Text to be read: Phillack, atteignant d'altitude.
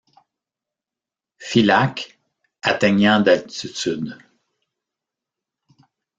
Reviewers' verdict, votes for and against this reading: accepted, 2, 1